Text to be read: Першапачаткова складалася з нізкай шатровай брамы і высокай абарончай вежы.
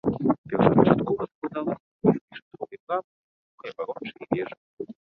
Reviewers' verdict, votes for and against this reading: rejected, 0, 2